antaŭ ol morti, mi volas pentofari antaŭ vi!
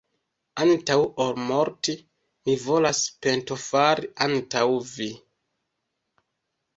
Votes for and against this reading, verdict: 2, 1, accepted